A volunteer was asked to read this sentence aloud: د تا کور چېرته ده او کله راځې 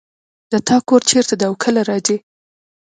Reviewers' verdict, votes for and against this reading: accepted, 2, 1